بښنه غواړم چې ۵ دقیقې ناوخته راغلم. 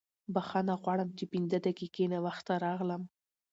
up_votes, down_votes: 0, 2